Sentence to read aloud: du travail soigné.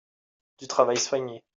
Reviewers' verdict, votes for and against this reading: accepted, 2, 1